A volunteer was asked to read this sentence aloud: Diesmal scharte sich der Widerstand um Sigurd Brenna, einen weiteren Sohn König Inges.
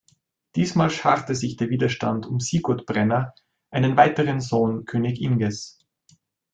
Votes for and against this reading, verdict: 3, 0, accepted